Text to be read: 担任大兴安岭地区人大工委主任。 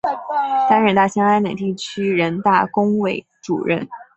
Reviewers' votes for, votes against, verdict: 1, 2, rejected